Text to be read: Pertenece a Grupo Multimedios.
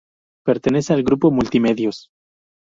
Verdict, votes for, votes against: rejected, 0, 2